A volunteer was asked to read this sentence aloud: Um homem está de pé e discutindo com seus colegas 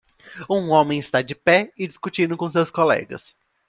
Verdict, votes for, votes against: accepted, 2, 0